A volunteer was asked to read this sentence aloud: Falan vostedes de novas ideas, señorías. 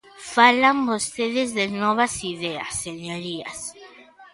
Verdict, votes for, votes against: accepted, 3, 0